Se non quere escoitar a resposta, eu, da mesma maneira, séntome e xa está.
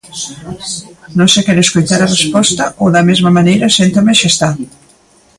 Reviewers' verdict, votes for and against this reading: rejected, 0, 2